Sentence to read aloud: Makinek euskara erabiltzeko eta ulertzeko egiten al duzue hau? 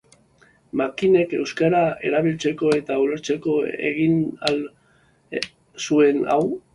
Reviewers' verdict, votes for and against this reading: rejected, 0, 2